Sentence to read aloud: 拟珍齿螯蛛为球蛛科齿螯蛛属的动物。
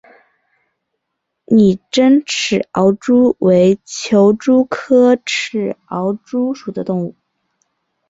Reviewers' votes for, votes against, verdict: 2, 1, accepted